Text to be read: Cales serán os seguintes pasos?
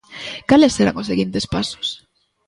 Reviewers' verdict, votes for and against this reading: accepted, 2, 0